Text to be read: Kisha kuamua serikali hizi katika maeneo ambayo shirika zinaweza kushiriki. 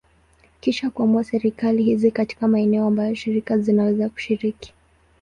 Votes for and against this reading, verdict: 2, 0, accepted